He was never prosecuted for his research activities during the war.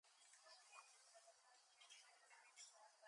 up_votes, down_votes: 0, 2